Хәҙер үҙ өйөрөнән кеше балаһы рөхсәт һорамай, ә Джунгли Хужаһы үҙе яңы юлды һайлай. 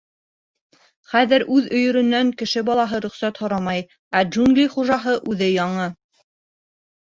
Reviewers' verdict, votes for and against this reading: rejected, 1, 2